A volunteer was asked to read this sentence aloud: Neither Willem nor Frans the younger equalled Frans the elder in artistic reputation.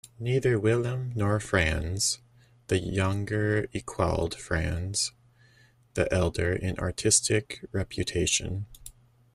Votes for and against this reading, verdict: 1, 2, rejected